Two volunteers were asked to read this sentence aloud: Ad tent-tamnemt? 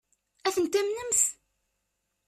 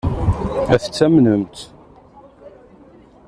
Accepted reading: first